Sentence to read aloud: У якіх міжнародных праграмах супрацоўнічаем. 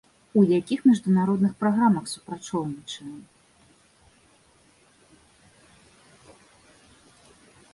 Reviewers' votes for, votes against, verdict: 0, 2, rejected